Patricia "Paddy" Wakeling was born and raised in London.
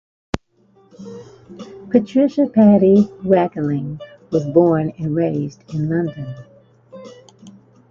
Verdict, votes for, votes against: rejected, 1, 2